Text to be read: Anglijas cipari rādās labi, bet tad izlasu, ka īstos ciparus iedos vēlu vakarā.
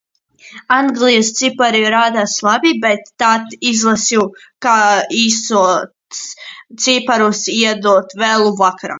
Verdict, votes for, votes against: rejected, 0, 2